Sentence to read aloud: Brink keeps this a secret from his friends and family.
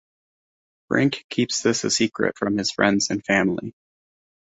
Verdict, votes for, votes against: accepted, 2, 0